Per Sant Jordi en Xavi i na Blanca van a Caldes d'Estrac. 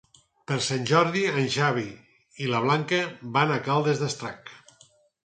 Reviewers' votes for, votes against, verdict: 0, 4, rejected